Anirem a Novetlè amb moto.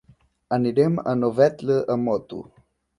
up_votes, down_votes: 1, 2